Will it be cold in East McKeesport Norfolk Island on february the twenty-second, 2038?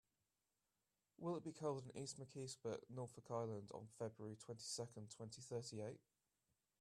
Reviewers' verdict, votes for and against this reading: rejected, 0, 2